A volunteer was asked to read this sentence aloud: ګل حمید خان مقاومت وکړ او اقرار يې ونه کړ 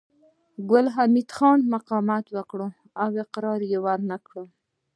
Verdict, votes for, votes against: rejected, 1, 2